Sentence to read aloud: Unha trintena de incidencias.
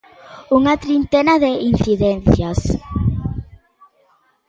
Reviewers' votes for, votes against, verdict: 2, 0, accepted